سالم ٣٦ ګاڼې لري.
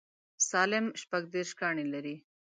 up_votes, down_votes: 0, 2